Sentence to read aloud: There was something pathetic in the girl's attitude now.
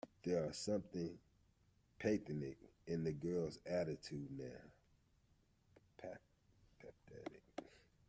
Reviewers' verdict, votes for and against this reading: rejected, 0, 2